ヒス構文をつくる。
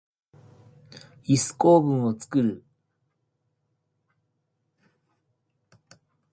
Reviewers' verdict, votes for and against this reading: accepted, 2, 1